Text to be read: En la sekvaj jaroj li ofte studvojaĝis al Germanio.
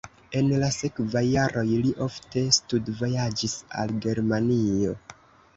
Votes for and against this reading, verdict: 0, 2, rejected